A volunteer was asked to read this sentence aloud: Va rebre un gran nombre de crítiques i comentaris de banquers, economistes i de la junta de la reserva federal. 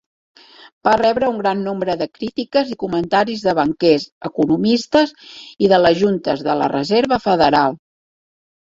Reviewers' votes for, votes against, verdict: 0, 2, rejected